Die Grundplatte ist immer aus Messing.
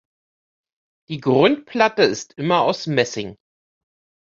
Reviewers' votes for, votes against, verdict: 2, 0, accepted